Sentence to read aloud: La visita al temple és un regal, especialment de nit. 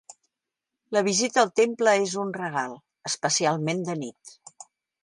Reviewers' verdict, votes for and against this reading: accepted, 3, 0